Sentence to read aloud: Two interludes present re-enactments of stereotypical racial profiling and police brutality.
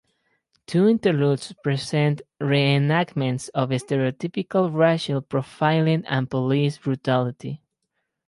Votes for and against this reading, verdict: 4, 2, accepted